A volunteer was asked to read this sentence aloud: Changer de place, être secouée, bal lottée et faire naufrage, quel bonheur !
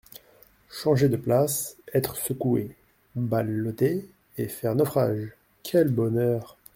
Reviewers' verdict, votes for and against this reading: rejected, 1, 2